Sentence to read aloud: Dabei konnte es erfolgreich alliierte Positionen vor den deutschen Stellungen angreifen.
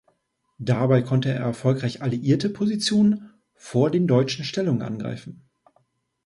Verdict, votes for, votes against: rejected, 1, 2